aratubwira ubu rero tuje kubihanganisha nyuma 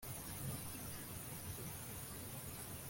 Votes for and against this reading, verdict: 0, 2, rejected